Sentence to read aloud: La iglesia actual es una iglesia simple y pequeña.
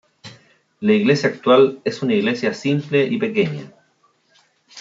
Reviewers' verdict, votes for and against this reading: rejected, 1, 2